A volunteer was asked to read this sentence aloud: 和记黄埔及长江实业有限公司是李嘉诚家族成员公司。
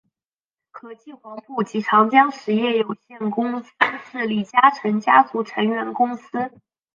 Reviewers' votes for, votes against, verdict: 2, 1, accepted